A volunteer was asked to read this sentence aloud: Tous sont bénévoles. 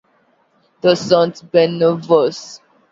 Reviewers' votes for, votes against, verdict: 1, 2, rejected